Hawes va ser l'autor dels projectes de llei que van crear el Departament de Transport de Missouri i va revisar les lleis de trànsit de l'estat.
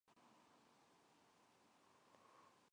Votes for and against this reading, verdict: 0, 2, rejected